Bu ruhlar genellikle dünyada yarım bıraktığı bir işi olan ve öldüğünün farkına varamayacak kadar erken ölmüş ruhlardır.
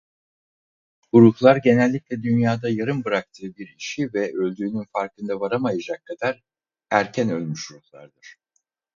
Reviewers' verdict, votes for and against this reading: rejected, 2, 2